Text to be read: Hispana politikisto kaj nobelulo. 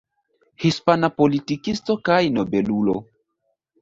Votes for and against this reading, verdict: 1, 2, rejected